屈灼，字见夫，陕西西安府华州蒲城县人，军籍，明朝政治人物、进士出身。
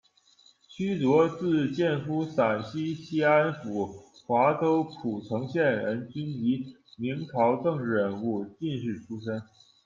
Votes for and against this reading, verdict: 2, 1, accepted